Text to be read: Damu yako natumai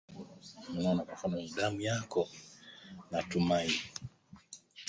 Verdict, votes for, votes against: rejected, 0, 2